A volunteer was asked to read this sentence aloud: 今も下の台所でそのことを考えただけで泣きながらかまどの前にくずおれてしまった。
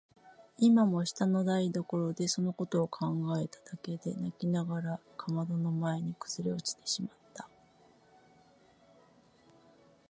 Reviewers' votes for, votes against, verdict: 1, 2, rejected